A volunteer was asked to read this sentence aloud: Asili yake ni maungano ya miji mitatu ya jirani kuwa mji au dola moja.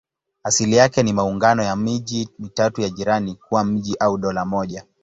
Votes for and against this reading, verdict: 2, 0, accepted